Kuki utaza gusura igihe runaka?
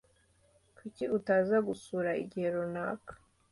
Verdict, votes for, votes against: accepted, 2, 0